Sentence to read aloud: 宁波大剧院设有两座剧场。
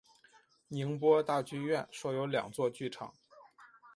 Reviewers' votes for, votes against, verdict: 1, 2, rejected